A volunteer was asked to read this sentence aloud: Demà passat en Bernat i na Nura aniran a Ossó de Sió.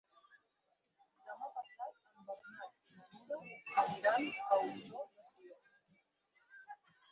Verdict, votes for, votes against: rejected, 2, 6